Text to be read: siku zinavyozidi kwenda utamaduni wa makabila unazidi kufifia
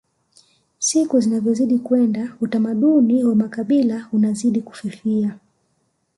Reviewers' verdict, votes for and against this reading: accepted, 2, 0